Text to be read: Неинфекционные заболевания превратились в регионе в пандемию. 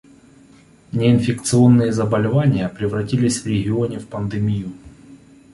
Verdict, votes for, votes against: accepted, 2, 0